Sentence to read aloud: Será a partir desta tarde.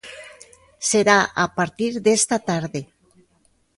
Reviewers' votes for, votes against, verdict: 2, 1, accepted